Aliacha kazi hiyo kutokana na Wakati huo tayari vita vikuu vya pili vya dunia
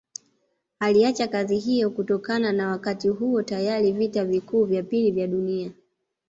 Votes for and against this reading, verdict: 2, 0, accepted